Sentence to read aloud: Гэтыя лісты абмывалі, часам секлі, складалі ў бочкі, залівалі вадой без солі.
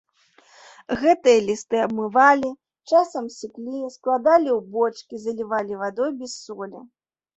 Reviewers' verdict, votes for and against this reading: rejected, 0, 2